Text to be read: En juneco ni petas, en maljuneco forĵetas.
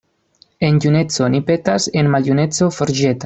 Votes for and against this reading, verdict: 0, 2, rejected